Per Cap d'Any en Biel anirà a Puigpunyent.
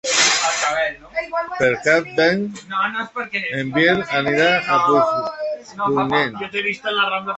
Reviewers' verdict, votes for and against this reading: rejected, 0, 2